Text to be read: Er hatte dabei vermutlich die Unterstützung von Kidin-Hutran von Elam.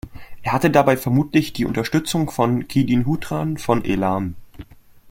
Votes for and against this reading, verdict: 2, 1, accepted